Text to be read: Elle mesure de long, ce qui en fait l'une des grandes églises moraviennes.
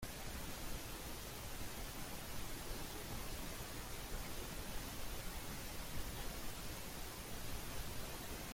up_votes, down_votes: 0, 2